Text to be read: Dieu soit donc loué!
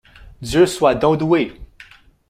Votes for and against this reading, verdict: 1, 2, rejected